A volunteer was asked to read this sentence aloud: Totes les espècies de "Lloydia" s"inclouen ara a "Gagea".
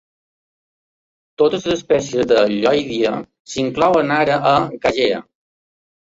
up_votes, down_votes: 2, 0